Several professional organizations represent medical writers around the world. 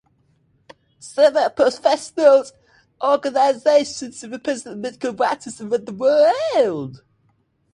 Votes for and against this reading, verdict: 0, 2, rejected